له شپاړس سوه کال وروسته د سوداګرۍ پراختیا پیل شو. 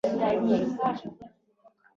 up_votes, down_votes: 0, 2